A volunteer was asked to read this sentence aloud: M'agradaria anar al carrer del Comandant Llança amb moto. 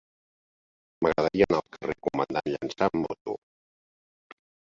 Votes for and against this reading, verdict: 0, 2, rejected